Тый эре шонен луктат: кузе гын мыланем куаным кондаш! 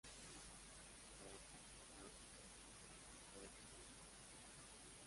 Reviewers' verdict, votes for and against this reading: rejected, 0, 2